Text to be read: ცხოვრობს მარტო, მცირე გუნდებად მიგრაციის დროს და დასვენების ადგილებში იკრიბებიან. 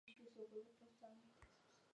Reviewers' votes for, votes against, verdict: 0, 2, rejected